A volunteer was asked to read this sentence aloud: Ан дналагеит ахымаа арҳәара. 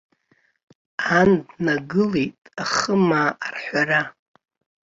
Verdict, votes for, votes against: rejected, 0, 2